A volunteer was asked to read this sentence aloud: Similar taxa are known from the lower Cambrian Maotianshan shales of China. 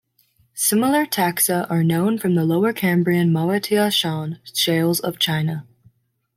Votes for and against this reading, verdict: 1, 2, rejected